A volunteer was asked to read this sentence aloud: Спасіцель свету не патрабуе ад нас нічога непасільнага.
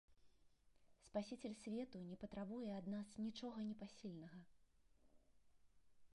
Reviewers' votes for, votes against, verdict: 0, 3, rejected